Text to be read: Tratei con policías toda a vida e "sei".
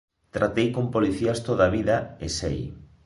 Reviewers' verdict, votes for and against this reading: accepted, 2, 0